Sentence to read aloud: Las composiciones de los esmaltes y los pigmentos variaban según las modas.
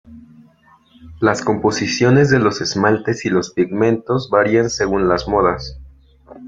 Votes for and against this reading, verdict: 1, 2, rejected